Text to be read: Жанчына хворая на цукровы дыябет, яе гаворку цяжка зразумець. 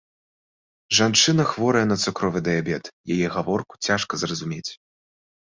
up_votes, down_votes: 2, 0